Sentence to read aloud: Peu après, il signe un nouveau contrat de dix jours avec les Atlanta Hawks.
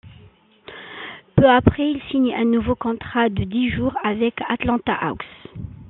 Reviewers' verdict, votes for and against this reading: accepted, 2, 0